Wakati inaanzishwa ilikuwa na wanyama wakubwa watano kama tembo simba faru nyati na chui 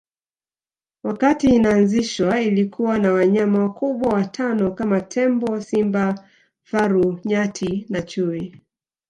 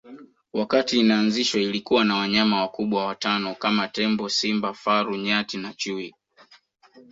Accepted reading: first